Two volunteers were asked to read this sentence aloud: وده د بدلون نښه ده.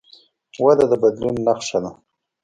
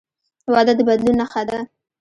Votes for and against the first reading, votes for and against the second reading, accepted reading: 2, 0, 0, 2, first